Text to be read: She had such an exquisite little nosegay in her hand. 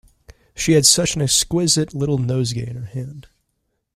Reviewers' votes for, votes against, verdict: 2, 0, accepted